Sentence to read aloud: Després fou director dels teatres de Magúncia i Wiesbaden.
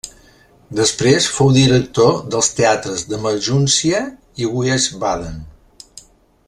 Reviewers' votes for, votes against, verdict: 0, 2, rejected